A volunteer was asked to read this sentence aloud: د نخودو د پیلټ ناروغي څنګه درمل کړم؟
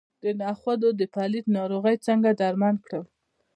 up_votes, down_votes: 1, 2